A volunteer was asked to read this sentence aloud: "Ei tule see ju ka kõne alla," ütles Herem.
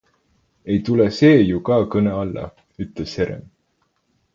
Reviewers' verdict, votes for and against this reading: accepted, 4, 0